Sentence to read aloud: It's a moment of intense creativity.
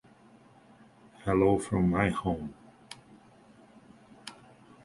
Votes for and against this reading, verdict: 0, 2, rejected